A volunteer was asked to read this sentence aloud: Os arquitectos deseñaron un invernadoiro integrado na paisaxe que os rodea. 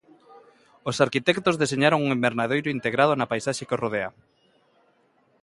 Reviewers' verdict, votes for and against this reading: accepted, 2, 0